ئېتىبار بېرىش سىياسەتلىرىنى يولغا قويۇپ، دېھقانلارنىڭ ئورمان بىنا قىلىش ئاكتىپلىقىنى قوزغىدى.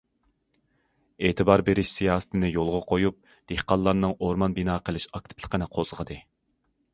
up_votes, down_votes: 0, 2